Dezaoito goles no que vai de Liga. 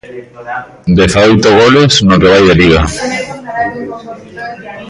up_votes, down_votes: 0, 2